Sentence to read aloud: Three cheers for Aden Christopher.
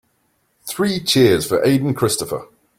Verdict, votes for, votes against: accepted, 3, 0